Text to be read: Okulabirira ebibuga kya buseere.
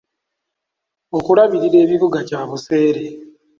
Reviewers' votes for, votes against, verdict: 2, 0, accepted